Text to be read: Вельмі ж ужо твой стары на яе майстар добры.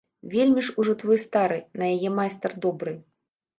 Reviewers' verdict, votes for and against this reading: rejected, 1, 2